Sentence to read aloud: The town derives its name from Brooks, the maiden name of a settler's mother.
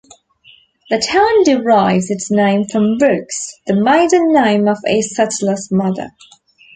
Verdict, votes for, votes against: accepted, 2, 1